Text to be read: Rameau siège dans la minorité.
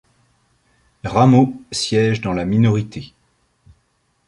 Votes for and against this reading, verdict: 2, 0, accepted